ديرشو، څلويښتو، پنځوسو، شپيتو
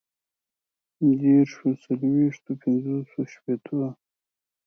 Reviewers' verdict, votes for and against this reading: accepted, 4, 0